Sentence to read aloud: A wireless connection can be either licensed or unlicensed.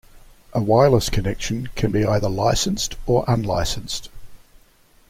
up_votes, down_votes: 2, 0